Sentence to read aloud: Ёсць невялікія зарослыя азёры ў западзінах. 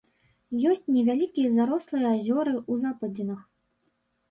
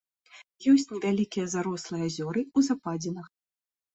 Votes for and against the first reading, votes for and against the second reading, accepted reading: 1, 2, 2, 0, second